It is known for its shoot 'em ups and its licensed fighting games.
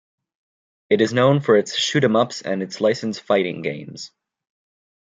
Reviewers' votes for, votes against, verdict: 2, 0, accepted